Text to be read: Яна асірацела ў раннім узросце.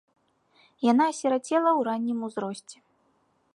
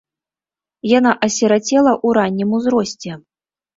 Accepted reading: first